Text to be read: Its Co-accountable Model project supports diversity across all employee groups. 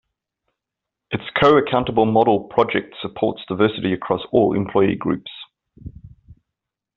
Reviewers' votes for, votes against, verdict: 1, 2, rejected